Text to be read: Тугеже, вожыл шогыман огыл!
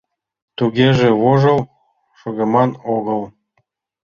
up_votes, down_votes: 3, 0